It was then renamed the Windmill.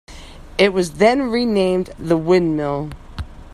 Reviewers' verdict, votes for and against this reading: accepted, 2, 0